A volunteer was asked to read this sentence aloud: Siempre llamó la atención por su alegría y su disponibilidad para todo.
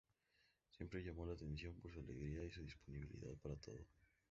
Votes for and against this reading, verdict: 0, 2, rejected